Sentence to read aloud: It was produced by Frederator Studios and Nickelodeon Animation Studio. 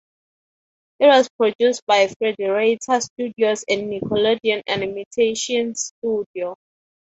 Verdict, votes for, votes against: rejected, 0, 6